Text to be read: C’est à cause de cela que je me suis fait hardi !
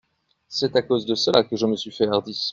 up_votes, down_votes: 2, 0